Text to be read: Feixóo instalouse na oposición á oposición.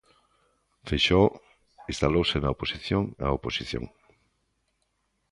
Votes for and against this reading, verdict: 2, 0, accepted